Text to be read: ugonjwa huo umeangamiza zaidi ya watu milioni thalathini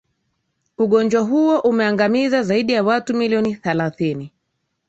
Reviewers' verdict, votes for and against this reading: accepted, 2, 0